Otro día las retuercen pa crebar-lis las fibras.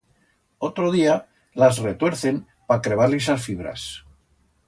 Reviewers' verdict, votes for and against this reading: accepted, 2, 0